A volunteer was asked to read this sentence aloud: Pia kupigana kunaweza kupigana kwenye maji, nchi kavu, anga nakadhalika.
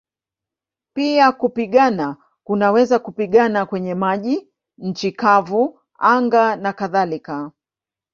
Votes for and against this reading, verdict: 3, 0, accepted